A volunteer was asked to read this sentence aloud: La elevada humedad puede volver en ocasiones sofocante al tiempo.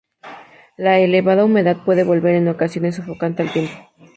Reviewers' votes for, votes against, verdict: 2, 2, rejected